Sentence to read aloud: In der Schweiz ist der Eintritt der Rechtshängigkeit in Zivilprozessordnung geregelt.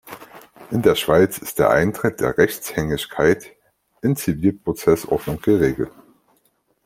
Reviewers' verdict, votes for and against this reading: accepted, 2, 1